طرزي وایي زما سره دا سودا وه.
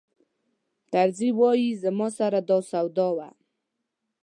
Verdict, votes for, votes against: accepted, 2, 0